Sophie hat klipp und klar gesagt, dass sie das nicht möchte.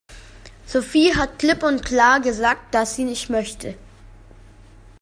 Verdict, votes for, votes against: rejected, 0, 2